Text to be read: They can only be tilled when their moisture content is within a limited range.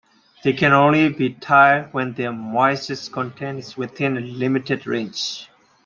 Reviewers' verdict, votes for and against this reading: accepted, 2, 1